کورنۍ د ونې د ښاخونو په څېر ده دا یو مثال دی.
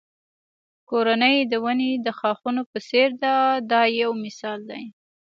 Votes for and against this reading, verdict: 2, 0, accepted